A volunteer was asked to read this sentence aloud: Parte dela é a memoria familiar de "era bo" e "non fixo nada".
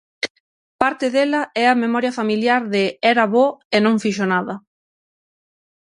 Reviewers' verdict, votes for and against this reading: accepted, 6, 0